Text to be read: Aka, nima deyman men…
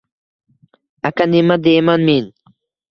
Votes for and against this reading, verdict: 2, 0, accepted